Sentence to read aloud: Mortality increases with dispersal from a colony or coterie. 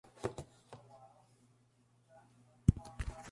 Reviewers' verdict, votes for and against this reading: rejected, 0, 2